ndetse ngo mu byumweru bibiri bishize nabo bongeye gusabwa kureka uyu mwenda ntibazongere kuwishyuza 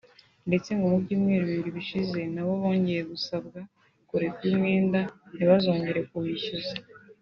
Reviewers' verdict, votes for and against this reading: accepted, 3, 0